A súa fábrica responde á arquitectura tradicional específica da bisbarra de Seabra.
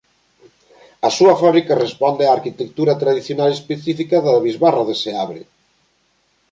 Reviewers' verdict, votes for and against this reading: rejected, 1, 2